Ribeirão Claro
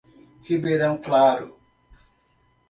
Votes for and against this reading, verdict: 2, 0, accepted